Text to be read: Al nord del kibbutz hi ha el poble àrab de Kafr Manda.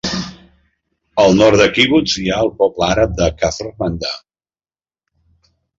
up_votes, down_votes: 0, 2